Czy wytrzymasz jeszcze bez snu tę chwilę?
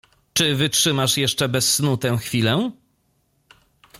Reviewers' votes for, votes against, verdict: 2, 0, accepted